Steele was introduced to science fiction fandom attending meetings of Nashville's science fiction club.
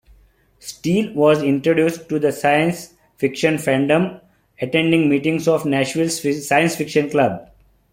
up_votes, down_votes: 0, 2